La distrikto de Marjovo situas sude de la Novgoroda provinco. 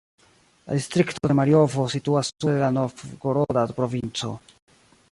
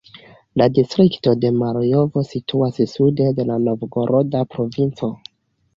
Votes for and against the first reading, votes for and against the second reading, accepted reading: 0, 2, 2, 1, second